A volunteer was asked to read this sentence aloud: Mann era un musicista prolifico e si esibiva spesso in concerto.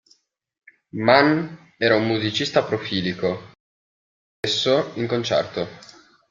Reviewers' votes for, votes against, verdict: 0, 2, rejected